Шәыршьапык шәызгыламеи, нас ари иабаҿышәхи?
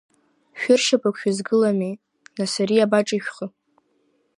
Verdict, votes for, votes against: accepted, 2, 0